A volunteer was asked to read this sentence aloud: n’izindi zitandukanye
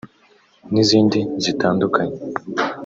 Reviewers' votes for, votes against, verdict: 2, 0, accepted